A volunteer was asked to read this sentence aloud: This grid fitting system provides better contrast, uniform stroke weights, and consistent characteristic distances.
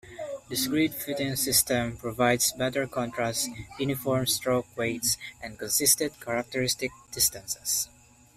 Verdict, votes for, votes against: accepted, 2, 1